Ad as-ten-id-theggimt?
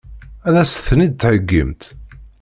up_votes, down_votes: 2, 0